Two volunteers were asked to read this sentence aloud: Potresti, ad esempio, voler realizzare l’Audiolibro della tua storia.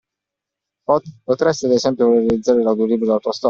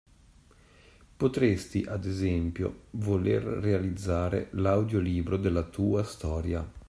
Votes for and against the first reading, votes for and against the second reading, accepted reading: 1, 2, 2, 0, second